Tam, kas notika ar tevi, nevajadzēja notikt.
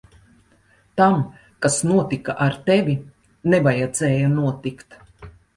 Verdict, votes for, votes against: accepted, 2, 0